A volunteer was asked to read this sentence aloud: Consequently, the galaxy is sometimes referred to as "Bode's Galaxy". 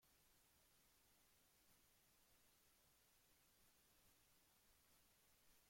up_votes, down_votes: 0, 2